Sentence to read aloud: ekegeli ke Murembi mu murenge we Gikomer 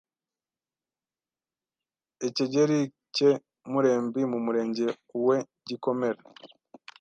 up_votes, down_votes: 1, 2